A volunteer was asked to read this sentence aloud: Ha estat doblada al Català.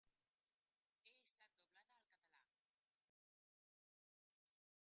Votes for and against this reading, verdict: 0, 2, rejected